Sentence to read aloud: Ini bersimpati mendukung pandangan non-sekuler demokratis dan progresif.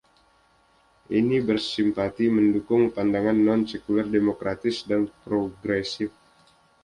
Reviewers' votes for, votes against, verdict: 2, 0, accepted